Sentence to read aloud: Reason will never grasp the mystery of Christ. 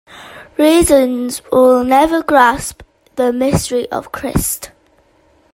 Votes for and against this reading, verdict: 1, 2, rejected